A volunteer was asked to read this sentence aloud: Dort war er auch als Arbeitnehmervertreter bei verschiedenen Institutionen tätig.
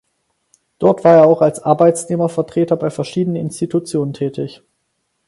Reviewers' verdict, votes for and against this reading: rejected, 2, 4